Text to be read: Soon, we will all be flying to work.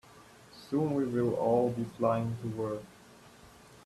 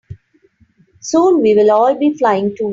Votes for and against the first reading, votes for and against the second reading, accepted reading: 2, 0, 0, 3, first